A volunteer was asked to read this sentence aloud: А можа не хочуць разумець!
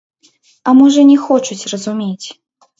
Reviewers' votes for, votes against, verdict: 0, 2, rejected